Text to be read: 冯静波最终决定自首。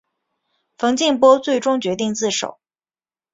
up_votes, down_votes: 2, 0